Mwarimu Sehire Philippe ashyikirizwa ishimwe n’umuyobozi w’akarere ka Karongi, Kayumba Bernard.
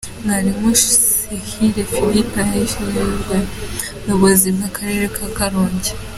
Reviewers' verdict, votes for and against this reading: rejected, 0, 2